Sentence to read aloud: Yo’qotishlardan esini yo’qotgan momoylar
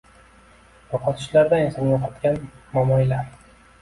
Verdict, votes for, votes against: accepted, 2, 0